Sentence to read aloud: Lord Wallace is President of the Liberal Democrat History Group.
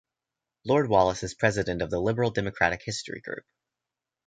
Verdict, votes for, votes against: accepted, 2, 1